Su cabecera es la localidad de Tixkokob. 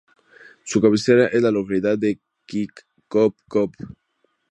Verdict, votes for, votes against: rejected, 0, 2